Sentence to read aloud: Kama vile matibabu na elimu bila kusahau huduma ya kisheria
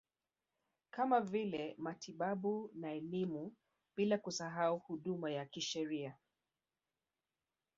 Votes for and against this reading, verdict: 1, 2, rejected